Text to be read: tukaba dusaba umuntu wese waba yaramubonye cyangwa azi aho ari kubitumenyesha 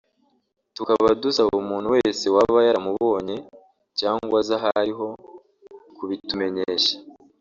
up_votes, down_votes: 1, 2